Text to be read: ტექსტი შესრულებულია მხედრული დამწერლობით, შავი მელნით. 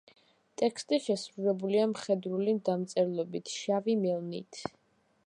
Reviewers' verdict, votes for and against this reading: accepted, 2, 0